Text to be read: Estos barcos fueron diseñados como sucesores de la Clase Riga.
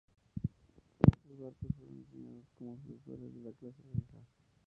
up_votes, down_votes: 0, 2